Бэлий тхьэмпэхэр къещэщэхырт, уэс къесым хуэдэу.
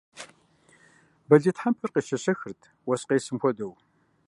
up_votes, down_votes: 0, 2